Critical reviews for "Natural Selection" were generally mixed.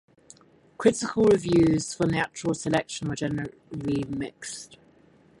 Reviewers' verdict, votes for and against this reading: rejected, 2, 4